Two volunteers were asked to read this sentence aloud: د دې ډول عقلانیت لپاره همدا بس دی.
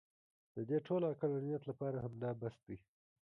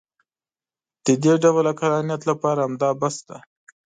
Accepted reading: second